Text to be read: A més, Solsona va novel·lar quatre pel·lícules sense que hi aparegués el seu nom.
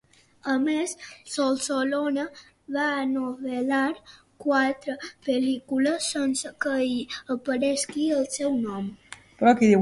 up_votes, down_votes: 0, 2